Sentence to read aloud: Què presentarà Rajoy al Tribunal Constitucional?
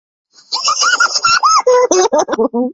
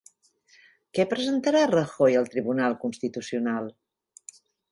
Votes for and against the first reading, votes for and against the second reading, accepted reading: 0, 2, 4, 0, second